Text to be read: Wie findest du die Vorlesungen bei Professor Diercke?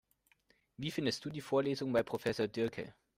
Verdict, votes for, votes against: accepted, 2, 0